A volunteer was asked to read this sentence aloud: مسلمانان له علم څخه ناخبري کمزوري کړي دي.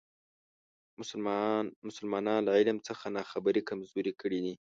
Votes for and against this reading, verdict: 1, 2, rejected